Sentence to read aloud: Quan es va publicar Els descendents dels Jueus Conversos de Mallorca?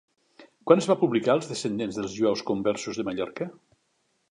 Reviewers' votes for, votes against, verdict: 2, 0, accepted